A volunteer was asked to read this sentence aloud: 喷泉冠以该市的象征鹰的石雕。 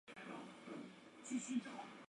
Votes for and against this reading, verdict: 0, 2, rejected